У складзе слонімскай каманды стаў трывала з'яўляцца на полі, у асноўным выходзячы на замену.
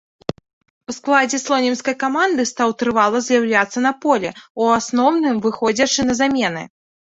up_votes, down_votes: 0, 2